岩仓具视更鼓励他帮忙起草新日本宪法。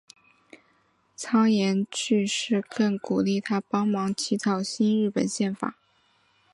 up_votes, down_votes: 4, 3